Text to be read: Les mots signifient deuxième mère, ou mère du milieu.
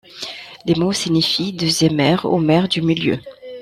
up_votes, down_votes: 2, 0